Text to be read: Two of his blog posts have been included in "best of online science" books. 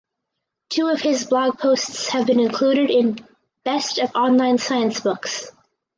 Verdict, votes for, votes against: accepted, 4, 0